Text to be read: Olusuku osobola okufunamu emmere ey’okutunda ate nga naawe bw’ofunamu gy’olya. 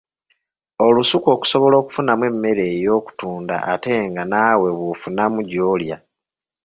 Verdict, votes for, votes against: rejected, 1, 2